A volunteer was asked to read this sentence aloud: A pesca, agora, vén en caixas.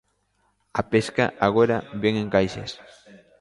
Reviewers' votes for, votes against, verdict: 2, 0, accepted